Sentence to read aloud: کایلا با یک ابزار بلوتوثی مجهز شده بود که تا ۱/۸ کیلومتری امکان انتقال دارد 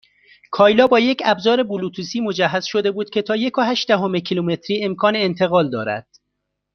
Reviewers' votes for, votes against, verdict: 0, 2, rejected